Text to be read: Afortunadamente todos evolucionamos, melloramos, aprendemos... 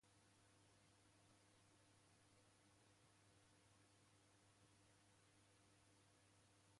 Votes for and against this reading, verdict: 0, 2, rejected